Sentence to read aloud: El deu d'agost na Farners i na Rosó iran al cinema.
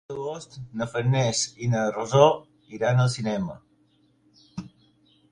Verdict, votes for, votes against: rejected, 0, 4